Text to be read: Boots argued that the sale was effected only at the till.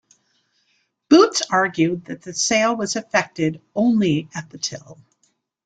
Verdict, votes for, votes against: accepted, 2, 0